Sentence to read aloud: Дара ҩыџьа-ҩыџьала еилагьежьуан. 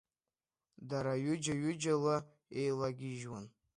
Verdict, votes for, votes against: accepted, 2, 0